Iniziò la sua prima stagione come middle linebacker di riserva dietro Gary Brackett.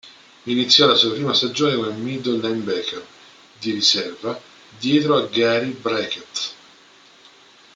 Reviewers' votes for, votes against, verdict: 0, 2, rejected